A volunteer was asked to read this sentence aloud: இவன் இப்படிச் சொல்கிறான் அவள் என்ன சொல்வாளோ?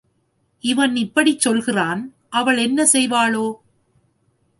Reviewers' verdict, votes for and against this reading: rejected, 1, 2